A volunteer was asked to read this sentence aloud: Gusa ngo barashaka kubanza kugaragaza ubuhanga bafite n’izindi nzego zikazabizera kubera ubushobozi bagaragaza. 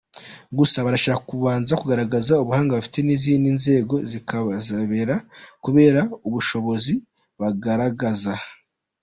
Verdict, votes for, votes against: rejected, 0, 2